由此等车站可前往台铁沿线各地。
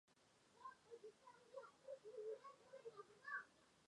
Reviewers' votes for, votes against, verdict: 0, 2, rejected